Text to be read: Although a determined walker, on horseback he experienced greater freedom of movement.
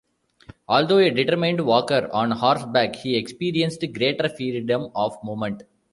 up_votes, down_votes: 0, 2